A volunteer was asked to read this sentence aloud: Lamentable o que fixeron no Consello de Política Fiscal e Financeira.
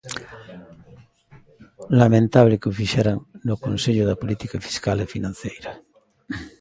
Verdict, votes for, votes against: rejected, 0, 2